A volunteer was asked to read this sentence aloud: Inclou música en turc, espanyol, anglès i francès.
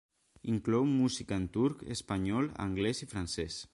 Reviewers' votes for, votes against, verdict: 1, 2, rejected